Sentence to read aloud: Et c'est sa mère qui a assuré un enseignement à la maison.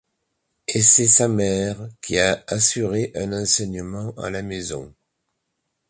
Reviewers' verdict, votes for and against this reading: accepted, 2, 0